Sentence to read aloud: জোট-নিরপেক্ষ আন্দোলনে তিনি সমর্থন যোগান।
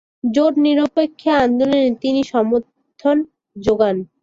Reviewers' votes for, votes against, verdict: 3, 4, rejected